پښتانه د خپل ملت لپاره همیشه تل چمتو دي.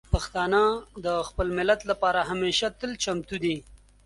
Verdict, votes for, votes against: accepted, 2, 0